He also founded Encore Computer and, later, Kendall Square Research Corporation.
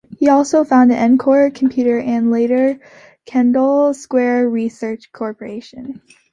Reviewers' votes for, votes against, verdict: 2, 1, accepted